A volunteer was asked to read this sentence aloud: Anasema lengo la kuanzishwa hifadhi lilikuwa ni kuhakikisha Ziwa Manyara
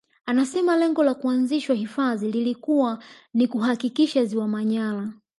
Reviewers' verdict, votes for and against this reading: rejected, 0, 2